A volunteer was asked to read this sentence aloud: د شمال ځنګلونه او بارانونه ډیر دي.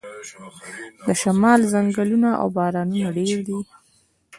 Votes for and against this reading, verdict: 2, 0, accepted